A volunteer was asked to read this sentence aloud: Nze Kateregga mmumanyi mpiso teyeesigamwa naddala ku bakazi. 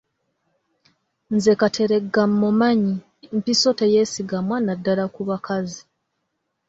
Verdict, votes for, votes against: accepted, 2, 0